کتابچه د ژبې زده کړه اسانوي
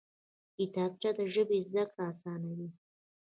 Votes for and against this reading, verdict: 2, 0, accepted